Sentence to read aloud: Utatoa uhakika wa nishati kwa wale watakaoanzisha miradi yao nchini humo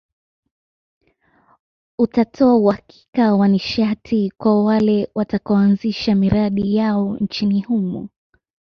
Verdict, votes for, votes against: accepted, 2, 0